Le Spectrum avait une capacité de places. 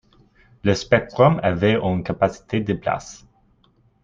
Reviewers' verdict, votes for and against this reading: accepted, 2, 1